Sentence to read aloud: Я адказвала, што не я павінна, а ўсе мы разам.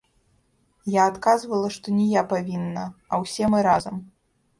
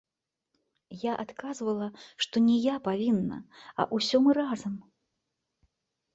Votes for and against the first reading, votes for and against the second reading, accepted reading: 2, 0, 0, 2, first